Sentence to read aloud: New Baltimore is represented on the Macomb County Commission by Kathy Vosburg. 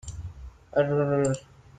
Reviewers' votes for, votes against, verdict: 0, 3, rejected